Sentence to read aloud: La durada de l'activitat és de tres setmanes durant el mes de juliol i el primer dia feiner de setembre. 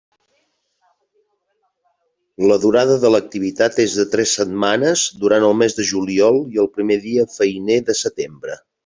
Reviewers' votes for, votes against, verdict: 3, 0, accepted